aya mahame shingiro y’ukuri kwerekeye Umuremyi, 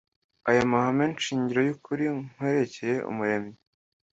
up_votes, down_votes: 1, 2